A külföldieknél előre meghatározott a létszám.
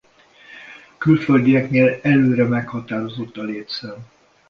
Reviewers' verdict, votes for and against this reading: rejected, 1, 2